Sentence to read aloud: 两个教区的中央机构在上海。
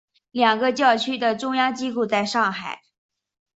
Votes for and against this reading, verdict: 4, 1, accepted